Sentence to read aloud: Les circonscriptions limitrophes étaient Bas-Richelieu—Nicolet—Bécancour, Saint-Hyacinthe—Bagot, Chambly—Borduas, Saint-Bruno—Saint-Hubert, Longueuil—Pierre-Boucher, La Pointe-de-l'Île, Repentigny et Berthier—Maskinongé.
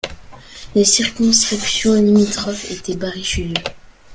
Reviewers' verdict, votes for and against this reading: rejected, 0, 2